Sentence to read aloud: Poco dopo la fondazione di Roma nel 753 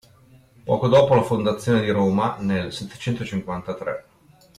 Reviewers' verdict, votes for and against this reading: rejected, 0, 2